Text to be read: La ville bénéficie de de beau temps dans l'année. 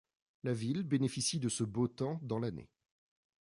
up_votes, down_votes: 0, 2